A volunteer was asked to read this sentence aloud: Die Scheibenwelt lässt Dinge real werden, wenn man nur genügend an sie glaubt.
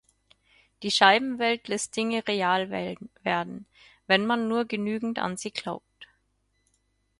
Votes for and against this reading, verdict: 0, 4, rejected